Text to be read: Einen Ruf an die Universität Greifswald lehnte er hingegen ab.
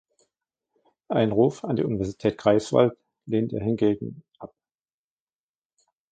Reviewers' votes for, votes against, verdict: 1, 2, rejected